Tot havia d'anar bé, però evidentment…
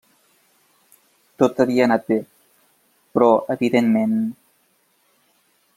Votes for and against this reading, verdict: 0, 2, rejected